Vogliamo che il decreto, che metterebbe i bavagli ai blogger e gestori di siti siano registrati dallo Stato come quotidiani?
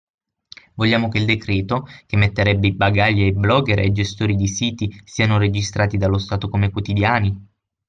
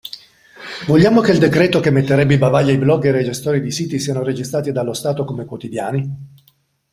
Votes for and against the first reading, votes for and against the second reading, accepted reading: 3, 6, 2, 0, second